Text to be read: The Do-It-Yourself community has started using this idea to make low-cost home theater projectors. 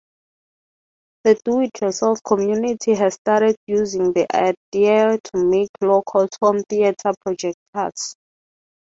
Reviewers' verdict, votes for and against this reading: rejected, 3, 3